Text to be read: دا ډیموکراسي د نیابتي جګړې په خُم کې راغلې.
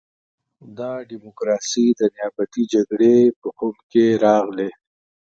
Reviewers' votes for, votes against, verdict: 2, 0, accepted